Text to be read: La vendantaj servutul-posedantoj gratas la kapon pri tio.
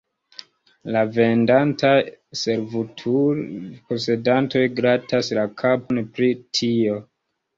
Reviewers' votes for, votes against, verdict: 2, 0, accepted